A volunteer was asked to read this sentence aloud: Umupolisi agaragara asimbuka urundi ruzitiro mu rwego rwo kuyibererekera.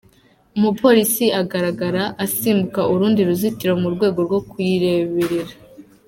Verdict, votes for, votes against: rejected, 1, 2